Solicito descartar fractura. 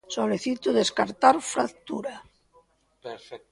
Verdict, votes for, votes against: rejected, 1, 2